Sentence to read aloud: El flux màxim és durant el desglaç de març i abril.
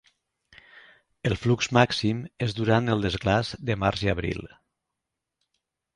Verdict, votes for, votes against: accepted, 2, 0